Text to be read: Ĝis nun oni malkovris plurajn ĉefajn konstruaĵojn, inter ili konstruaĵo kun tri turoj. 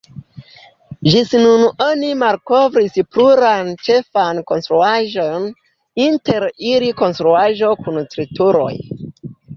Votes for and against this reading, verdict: 0, 2, rejected